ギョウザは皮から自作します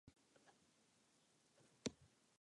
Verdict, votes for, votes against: rejected, 0, 3